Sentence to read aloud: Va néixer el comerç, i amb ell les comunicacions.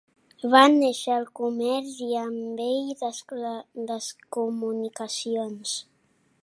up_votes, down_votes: 1, 2